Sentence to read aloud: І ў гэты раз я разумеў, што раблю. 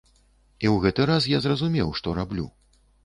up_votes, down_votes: 1, 2